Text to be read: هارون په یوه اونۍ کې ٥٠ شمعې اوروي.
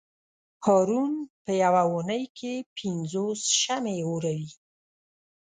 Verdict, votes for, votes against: rejected, 0, 2